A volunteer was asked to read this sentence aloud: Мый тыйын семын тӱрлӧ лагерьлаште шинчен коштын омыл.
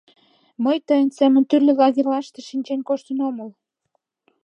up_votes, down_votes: 2, 0